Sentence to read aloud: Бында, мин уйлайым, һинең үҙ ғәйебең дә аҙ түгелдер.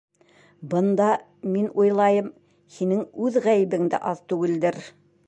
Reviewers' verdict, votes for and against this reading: accepted, 2, 0